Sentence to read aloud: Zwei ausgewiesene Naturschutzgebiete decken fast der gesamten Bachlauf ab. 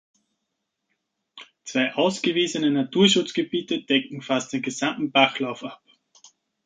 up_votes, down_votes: 0, 2